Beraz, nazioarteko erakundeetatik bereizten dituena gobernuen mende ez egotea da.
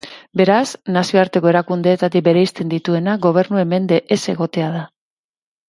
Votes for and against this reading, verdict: 2, 0, accepted